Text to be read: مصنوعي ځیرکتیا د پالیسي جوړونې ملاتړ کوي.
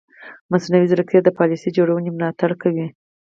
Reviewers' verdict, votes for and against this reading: accepted, 4, 0